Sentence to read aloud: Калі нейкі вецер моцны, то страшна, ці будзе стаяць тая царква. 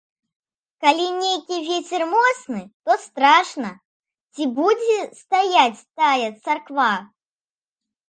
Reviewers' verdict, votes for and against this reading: accepted, 2, 0